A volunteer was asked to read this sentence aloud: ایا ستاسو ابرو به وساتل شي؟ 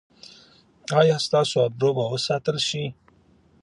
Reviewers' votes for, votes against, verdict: 2, 0, accepted